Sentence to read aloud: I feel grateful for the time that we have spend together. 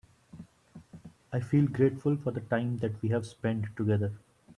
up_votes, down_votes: 2, 0